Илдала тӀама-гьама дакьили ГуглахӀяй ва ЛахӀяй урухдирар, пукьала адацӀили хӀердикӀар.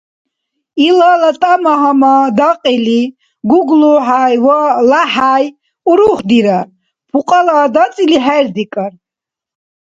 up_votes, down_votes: 1, 2